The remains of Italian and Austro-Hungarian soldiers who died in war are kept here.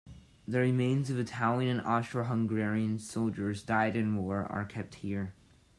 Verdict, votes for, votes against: rejected, 1, 2